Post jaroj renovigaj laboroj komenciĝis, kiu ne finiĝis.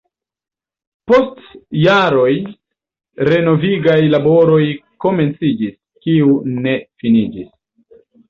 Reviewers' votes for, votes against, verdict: 2, 1, accepted